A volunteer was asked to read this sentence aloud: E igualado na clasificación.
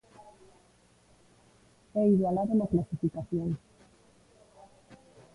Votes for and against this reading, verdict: 1, 2, rejected